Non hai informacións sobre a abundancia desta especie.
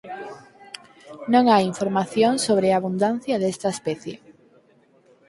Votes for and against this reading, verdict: 0, 4, rejected